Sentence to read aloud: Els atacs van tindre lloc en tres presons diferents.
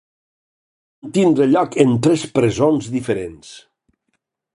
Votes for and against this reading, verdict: 0, 4, rejected